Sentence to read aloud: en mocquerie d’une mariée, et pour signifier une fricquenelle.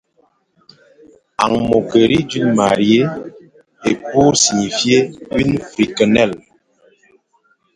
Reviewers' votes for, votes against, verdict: 2, 1, accepted